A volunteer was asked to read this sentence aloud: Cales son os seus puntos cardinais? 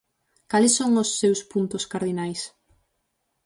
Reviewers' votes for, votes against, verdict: 4, 0, accepted